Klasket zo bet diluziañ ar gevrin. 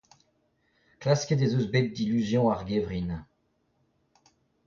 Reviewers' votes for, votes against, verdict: 0, 2, rejected